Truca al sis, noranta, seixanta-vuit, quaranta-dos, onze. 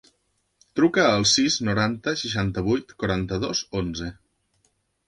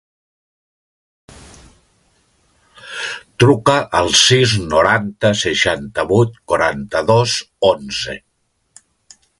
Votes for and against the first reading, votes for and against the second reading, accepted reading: 3, 0, 0, 2, first